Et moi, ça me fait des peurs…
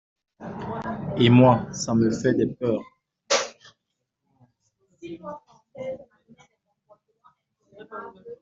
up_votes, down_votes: 2, 1